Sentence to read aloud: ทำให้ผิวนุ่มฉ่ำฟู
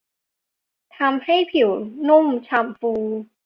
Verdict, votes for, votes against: accepted, 3, 1